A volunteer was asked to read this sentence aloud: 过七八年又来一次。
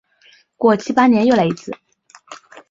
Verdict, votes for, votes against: accepted, 7, 0